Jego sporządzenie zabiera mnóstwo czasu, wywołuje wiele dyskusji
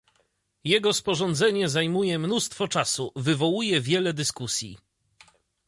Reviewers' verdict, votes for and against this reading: rejected, 0, 2